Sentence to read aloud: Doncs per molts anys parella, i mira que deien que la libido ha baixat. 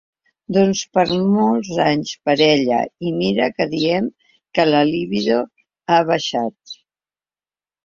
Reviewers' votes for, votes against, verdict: 1, 2, rejected